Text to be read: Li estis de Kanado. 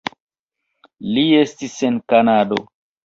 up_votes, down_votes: 1, 2